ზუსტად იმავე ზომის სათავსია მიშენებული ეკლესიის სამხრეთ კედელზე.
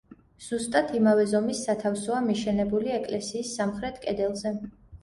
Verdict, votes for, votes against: rejected, 0, 2